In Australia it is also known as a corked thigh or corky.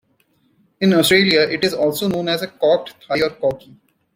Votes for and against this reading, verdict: 2, 1, accepted